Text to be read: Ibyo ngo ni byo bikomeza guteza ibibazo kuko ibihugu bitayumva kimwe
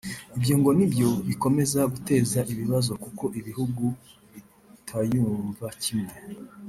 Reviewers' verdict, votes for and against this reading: rejected, 0, 2